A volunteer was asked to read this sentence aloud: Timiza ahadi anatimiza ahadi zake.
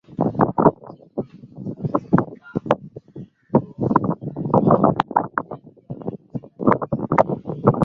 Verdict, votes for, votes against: rejected, 0, 2